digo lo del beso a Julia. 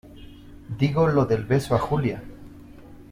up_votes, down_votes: 2, 0